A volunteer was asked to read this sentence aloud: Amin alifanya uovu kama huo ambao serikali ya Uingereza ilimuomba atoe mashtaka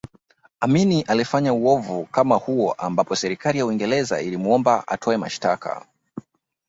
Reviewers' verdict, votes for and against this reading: rejected, 0, 2